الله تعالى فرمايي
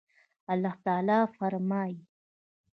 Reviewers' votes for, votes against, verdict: 1, 2, rejected